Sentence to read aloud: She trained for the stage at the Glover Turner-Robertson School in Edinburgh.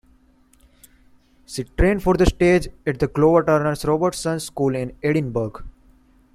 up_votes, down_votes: 1, 2